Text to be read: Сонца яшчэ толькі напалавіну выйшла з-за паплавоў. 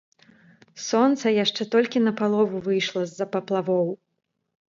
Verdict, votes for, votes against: rejected, 0, 2